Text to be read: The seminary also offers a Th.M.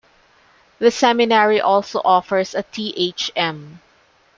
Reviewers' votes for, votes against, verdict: 2, 1, accepted